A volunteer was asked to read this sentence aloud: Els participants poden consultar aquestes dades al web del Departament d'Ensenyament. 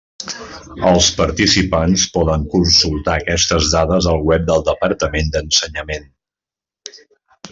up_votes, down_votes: 3, 0